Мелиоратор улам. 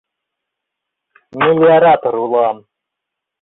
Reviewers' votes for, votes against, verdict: 2, 1, accepted